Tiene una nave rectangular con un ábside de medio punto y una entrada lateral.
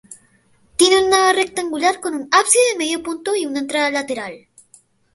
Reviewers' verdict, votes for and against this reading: rejected, 0, 2